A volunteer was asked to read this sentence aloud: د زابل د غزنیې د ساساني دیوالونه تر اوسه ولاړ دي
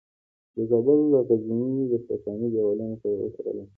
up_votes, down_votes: 1, 2